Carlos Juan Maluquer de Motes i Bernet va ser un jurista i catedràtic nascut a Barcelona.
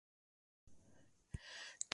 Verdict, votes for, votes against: rejected, 1, 2